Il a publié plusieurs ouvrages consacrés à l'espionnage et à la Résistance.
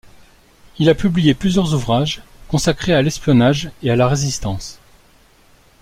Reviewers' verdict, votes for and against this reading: accepted, 2, 0